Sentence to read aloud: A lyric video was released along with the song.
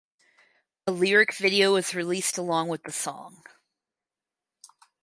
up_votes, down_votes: 4, 0